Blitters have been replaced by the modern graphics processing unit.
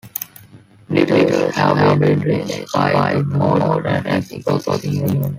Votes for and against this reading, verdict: 0, 2, rejected